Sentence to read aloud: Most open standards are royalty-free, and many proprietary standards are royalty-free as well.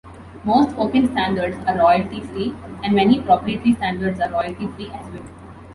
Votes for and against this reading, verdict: 2, 0, accepted